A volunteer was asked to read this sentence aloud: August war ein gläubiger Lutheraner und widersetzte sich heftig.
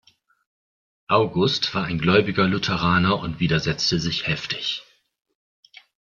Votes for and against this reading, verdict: 2, 0, accepted